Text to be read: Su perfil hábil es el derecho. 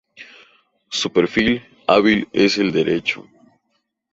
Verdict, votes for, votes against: accepted, 2, 0